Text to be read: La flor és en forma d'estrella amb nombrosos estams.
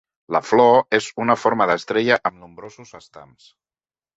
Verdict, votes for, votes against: rejected, 0, 2